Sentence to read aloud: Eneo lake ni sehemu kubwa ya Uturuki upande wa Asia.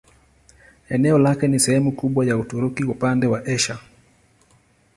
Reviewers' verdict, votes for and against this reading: accepted, 2, 0